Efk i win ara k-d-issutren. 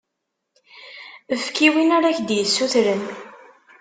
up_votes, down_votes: 1, 2